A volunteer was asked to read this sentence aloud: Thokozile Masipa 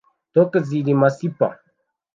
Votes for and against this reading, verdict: 0, 2, rejected